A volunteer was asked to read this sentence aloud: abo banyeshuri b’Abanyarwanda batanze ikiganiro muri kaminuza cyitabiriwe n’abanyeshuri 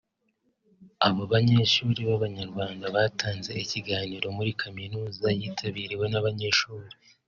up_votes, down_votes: 1, 3